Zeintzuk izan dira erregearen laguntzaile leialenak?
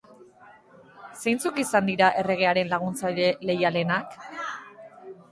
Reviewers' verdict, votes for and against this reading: rejected, 1, 2